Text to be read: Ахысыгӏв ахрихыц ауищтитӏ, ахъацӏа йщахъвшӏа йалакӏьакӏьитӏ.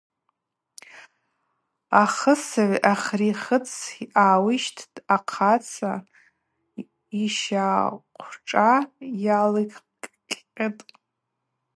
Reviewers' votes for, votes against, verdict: 2, 2, rejected